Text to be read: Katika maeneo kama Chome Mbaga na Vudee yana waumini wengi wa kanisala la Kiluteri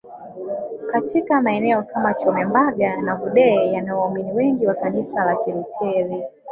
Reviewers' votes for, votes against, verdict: 1, 2, rejected